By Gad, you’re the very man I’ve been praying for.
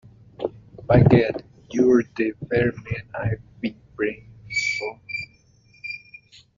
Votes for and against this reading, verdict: 1, 2, rejected